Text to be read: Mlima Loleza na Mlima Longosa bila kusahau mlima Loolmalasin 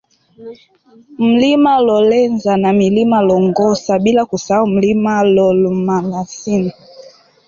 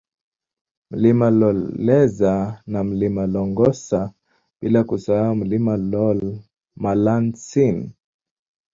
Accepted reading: second